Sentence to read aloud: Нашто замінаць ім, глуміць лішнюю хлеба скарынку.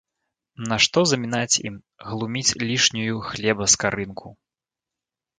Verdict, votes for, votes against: accepted, 2, 0